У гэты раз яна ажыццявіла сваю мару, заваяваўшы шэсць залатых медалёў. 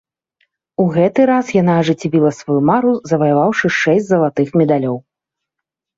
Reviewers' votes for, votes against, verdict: 2, 0, accepted